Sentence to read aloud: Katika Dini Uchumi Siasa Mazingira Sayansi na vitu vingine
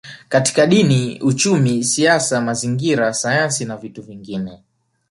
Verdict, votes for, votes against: accepted, 2, 0